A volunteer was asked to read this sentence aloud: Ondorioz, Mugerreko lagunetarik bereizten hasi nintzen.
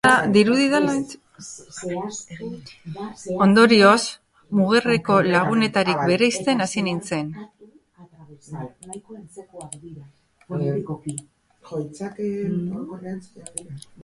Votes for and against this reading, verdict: 3, 3, rejected